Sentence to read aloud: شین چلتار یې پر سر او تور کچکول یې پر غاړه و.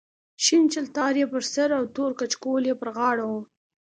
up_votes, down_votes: 2, 0